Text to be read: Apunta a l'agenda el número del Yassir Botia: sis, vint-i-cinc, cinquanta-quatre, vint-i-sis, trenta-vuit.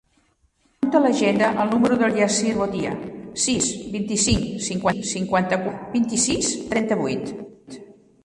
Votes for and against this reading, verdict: 1, 3, rejected